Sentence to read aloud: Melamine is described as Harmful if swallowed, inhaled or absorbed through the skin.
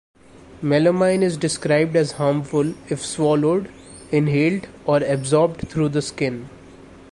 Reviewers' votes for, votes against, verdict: 2, 0, accepted